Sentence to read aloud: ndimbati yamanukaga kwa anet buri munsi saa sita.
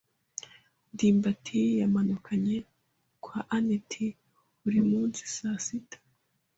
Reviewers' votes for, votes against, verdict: 2, 0, accepted